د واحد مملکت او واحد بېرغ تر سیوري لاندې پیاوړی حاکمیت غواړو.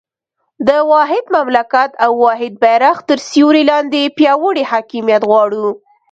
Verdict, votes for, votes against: accepted, 2, 0